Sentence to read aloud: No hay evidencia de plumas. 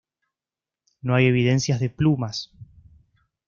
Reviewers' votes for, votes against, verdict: 0, 2, rejected